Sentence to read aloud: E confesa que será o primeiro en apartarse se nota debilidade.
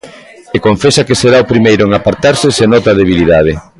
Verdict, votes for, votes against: accepted, 2, 1